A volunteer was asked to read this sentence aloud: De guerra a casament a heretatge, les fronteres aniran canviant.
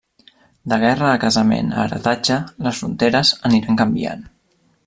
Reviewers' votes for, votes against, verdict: 3, 0, accepted